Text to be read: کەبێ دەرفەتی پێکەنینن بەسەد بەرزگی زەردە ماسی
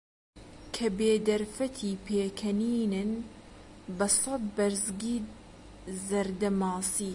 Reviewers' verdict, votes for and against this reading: rejected, 0, 2